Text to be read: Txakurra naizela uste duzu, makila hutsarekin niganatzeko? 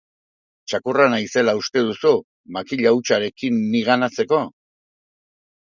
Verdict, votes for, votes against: accepted, 3, 0